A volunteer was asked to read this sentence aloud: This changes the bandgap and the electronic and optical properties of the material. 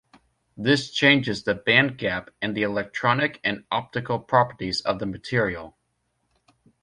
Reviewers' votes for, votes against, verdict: 2, 1, accepted